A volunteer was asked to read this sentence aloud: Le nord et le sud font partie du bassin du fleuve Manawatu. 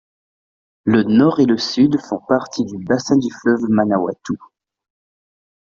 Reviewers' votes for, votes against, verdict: 2, 0, accepted